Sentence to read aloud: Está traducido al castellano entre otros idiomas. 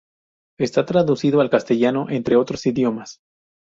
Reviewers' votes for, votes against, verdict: 2, 0, accepted